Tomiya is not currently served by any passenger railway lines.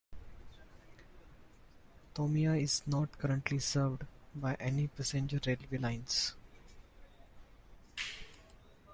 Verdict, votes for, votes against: accepted, 2, 0